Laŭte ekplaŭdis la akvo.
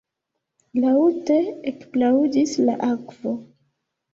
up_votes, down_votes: 2, 0